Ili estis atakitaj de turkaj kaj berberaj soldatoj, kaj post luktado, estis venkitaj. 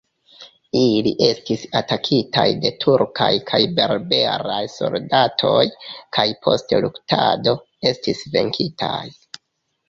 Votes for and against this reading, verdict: 1, 2, rejected